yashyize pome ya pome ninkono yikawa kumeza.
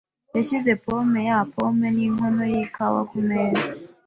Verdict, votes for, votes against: accepted, 2, 0